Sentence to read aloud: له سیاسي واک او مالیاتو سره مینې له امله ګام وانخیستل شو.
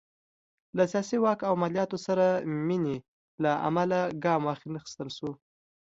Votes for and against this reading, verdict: 2, 0, accepted